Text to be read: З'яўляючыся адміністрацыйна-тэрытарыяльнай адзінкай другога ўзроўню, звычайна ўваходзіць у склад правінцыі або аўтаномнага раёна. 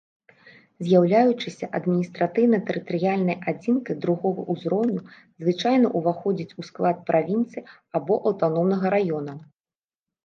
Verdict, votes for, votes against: rejected, 0, 2